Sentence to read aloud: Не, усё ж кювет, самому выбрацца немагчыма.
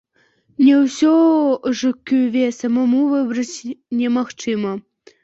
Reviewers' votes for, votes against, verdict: 0, 2, rejected